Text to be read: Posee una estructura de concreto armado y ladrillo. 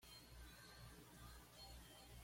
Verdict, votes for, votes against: rejected, 1, 2